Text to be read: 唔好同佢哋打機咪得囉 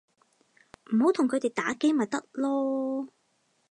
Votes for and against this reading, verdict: 2, 0, accepted